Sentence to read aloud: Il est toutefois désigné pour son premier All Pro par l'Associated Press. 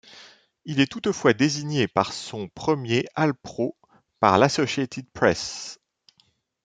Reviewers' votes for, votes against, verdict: 1, 2, rejected